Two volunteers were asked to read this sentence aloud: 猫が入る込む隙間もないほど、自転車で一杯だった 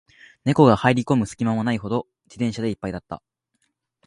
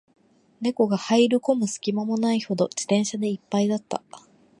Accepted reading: first